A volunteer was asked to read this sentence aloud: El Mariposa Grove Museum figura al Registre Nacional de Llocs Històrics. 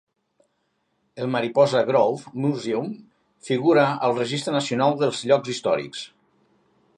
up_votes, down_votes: 0, 3